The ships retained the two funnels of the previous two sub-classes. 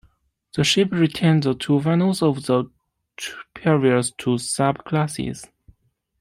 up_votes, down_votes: 0, 2